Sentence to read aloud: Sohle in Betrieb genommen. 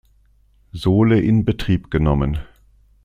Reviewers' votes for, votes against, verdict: 2, 0, accepted